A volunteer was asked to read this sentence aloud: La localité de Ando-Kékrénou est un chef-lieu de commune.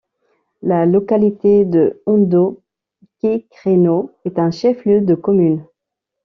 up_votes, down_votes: 0, 2